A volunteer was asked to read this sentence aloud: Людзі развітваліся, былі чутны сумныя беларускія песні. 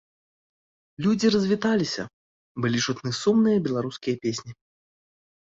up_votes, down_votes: 1, 2